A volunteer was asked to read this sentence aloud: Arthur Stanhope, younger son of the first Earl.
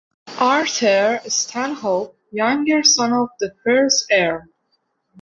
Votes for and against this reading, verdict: 2, 0, accepted